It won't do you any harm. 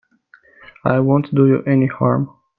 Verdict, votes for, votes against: rejected, 0, 2